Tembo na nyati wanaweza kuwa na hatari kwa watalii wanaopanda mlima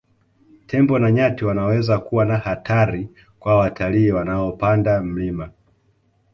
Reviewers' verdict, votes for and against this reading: accepted, 2, 0